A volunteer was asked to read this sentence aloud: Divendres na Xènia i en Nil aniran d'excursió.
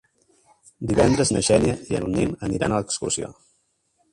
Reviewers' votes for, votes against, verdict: 0, 2, rejected